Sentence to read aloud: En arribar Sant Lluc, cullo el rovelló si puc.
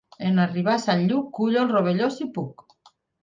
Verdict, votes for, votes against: accepted, 4, 0